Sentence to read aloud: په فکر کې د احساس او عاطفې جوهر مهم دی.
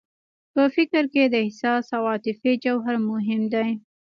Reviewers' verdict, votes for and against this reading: accepted, 2, 1